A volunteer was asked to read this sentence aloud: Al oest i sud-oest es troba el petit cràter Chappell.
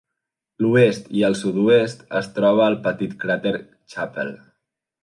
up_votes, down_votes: 0, 2